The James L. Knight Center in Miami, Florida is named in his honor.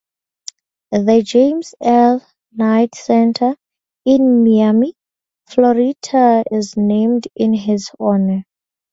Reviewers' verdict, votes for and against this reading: rejected, 0, 2